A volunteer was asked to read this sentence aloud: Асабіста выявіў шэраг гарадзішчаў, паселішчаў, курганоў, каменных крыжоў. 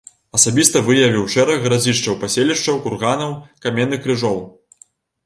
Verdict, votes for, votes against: rejected, 1, 2